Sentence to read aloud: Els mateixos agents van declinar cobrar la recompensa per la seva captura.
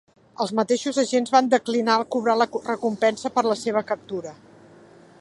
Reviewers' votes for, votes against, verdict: 1, 2, rejected